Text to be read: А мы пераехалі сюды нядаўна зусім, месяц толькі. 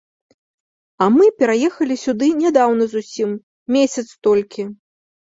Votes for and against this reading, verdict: 2, 0, accepted